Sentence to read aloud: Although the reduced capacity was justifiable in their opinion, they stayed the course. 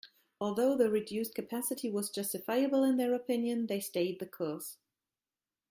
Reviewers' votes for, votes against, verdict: 2, 0, accepted